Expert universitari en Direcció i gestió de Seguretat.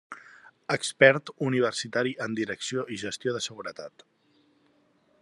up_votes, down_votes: 3, 0